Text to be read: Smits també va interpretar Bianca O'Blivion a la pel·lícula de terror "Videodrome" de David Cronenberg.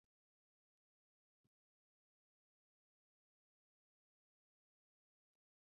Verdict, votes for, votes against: rejected, 0, 2